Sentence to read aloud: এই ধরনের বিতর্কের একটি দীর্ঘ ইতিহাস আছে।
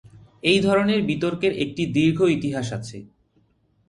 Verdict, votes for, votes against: accepted, 8, 0